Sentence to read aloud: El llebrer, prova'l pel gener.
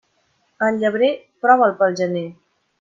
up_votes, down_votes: 2, 0